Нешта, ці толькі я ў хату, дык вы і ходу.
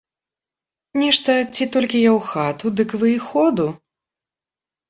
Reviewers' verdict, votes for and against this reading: accepted, 3, 0